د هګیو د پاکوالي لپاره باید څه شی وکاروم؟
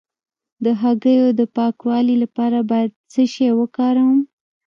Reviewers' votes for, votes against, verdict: 2, 0, accepted